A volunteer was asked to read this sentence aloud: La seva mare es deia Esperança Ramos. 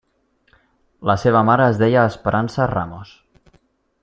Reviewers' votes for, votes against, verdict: 3, 0, accepted